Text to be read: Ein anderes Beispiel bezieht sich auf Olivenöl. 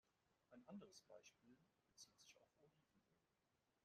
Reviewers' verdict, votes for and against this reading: rejected, 0, 2